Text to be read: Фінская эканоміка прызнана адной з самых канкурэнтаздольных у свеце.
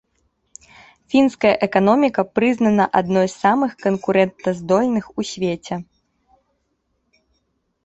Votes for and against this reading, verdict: 1, 2, rejected